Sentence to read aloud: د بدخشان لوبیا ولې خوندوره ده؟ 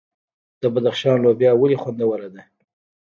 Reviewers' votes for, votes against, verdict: 1, 2, rejected